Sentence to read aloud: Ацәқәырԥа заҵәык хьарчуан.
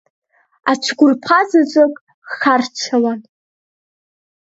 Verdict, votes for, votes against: rejected, 2, 3